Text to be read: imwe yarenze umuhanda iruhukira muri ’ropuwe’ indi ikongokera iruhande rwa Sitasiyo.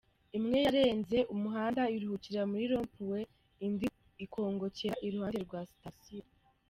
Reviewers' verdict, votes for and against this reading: accepted, 2, 0